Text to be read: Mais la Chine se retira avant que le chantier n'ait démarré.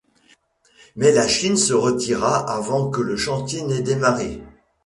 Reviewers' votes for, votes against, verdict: 2, 0, accepted